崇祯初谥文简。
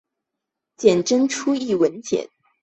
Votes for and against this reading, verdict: 0, 2, rejected